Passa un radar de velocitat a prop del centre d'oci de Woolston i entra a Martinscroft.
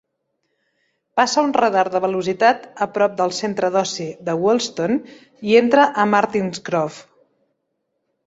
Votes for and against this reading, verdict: 2, 0, accepted